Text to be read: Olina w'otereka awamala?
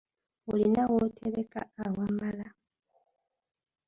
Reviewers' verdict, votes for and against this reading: accepted, 2, 0